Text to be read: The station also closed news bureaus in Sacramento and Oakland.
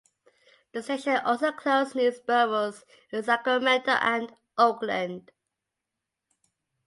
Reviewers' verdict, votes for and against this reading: accepted, 2, 0